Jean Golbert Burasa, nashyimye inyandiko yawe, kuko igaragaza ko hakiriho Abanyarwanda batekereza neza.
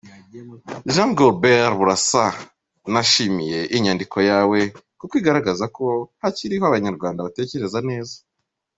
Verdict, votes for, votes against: rejected, 1, 3